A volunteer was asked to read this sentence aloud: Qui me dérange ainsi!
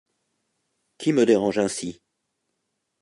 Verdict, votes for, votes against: rejected, 0, 2